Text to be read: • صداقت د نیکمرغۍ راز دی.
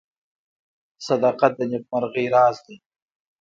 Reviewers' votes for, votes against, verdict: 1, 2, rejected